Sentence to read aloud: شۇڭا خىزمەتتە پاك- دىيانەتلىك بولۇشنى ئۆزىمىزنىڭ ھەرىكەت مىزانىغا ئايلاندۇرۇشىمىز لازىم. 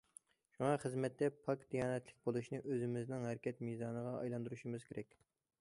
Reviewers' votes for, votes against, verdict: 1, 2, rejected